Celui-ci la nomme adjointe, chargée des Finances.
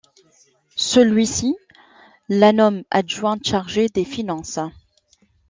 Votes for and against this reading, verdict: 2, 0, accepted